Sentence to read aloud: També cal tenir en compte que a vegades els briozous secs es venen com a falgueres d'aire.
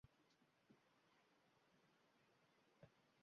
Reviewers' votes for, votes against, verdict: 0, 2, rejected